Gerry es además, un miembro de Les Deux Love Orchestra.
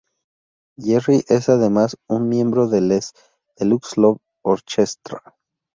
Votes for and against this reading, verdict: 2, 0, accepted